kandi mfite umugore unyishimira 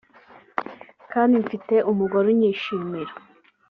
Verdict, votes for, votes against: accepted, 2, 0